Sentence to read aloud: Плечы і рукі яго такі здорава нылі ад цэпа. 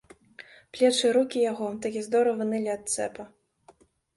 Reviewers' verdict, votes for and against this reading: accepted, 2, 0